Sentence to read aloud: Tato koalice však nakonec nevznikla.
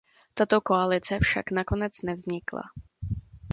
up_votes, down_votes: 2, 0